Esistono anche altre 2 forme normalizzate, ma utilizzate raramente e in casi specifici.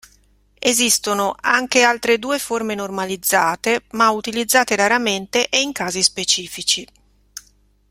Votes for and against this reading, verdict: 0, 2, rejected